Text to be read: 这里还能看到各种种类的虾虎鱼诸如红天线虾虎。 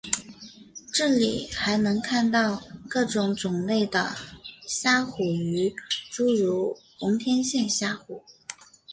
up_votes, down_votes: 2, 0